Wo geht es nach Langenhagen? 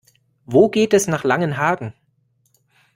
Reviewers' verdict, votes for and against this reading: accepted, 2, 0